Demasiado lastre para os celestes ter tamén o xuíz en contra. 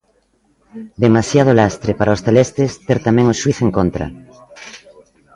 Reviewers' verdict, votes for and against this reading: rejected, 1, 2